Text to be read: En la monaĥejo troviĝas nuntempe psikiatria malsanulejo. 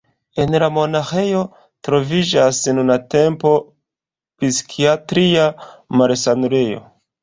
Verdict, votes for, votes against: accepted, 2, 1